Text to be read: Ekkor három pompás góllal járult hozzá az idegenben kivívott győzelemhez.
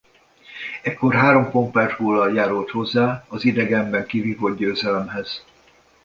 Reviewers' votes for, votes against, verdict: 2, 0, accepted